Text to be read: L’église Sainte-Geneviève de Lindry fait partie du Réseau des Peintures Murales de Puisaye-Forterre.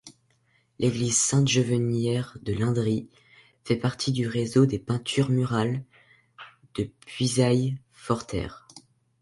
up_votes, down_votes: 0, 2